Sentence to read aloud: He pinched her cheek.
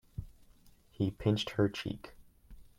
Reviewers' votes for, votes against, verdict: 2, 0, accepted